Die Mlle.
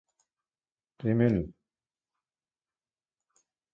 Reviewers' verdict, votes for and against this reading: accepted, 2, 1